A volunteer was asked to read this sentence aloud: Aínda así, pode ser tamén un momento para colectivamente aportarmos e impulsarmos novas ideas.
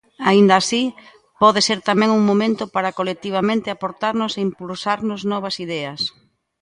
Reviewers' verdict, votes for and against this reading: rejected, 0, 2